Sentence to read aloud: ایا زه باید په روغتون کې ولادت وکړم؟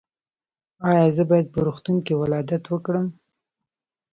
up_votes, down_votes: 2, 3